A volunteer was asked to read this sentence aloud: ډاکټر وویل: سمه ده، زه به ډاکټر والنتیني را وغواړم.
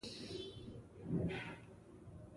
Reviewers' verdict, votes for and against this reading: accepted, 2, 0